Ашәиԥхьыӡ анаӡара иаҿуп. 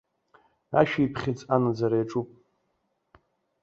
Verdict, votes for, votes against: accepted, 2, 0